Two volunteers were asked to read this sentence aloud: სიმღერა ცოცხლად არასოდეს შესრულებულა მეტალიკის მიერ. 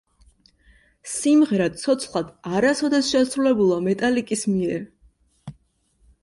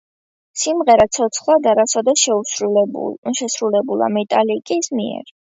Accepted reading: first